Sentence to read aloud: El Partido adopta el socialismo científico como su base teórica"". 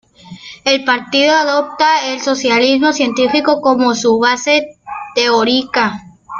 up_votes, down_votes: 1, 2